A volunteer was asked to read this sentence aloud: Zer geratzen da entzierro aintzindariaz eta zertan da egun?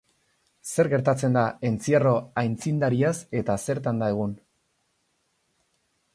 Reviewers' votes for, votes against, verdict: 2, 2, rejected